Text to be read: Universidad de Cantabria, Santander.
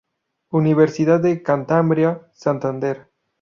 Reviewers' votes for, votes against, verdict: 0, 2, rejected